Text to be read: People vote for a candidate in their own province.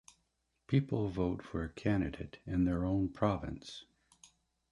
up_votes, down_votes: 2, 0